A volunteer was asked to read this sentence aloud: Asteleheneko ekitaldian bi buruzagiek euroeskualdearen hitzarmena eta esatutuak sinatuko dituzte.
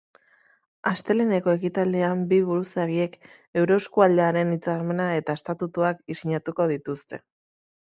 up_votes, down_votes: 0, 2